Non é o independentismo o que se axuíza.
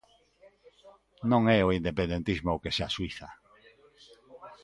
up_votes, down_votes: 2, 0